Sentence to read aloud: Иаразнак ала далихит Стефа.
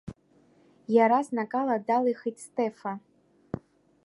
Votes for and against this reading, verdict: 2, 0, accepted